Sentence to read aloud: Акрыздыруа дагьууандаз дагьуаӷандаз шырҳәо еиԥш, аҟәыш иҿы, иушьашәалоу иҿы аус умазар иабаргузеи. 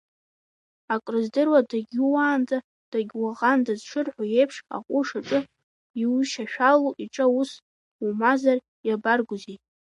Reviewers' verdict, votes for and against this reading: rejected, 1, 2